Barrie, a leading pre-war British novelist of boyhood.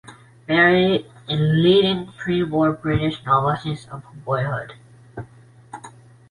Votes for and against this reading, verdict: 3, 0, accepted